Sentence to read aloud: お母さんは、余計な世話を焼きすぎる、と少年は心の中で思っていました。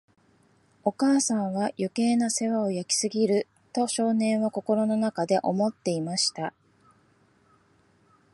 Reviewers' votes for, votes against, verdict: 2, 0, accepted